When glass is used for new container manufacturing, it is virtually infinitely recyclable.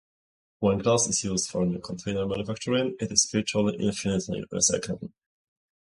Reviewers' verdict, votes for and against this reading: accepted, 4, 2